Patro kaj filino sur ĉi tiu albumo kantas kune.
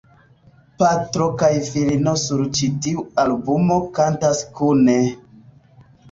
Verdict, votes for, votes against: accepted, 3, 1